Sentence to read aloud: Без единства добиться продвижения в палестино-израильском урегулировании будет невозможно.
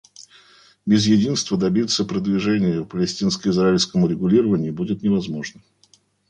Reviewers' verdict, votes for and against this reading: rejected, 0, 2